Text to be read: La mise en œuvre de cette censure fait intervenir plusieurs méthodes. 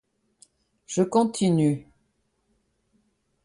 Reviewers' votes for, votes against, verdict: 0, 2, rejected